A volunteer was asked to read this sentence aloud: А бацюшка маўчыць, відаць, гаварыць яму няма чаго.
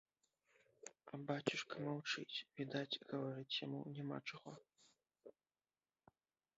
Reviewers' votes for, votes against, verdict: 1, 2, rejected